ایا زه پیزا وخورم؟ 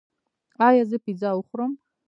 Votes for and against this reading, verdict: 0, 2, rejected